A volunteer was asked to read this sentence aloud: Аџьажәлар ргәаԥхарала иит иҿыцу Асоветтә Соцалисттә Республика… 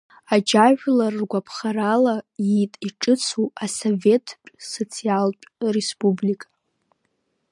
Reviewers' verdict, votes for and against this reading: rejected, 1, 2